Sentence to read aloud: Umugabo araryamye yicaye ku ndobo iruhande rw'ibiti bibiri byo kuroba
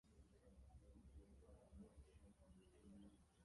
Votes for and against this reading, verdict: 0, 2, rejected